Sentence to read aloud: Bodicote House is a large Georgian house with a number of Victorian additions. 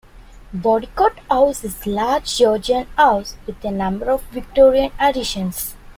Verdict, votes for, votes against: rejected, 1, 2